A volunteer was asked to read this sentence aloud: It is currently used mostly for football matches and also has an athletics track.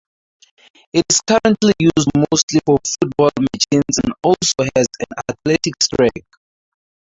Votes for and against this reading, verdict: 0, 4, rejected